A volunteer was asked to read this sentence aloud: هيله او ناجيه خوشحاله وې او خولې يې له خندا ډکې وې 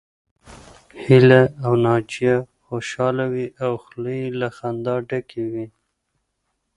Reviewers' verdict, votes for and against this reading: accepted, 2, 0